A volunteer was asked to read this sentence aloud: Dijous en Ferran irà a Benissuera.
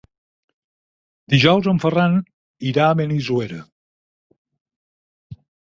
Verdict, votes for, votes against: rejected, 2, 4